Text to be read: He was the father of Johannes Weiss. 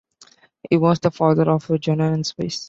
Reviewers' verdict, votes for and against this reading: accepted, 2, 1